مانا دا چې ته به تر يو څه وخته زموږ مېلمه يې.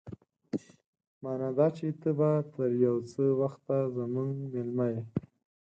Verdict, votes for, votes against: accepted, 4, 0